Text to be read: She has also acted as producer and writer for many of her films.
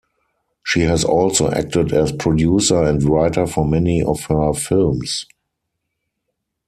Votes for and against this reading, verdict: 4, 0, accepted